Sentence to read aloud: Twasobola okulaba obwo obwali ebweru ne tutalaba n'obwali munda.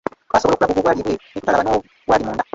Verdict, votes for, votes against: rejected, 0, 2